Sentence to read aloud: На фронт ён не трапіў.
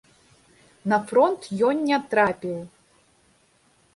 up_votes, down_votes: 1, 2